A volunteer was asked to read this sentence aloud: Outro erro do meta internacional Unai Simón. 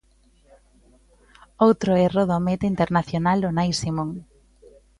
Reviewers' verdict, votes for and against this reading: accepted, 2, 0